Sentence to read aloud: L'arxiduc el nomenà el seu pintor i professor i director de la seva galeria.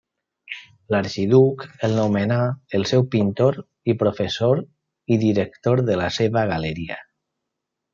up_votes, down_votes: 1, 2